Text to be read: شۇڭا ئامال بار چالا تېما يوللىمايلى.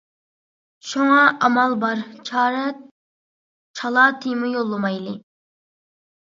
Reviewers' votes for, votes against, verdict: 0, 2, rejected